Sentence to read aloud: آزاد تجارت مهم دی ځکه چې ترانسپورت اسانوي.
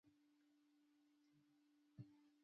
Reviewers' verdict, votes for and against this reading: rejected, 0, 2